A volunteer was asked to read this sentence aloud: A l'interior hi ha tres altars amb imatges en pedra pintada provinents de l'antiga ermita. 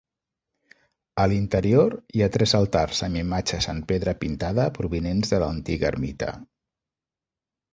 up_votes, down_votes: 2, 0